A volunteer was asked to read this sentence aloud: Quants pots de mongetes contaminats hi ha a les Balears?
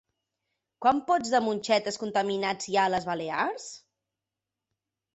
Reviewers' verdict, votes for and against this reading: rejected, 1, 2